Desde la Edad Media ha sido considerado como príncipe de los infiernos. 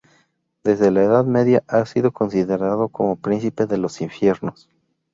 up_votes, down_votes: 0, 2